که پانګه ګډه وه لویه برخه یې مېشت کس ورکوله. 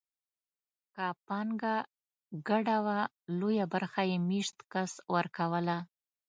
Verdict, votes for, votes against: accepted, 2, 0